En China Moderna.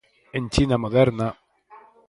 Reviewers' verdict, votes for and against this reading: rejected, 2, 4